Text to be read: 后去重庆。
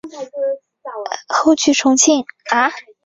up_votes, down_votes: 0, 3